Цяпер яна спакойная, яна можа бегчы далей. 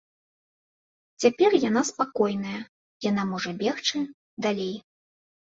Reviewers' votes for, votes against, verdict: 2, 0, accepted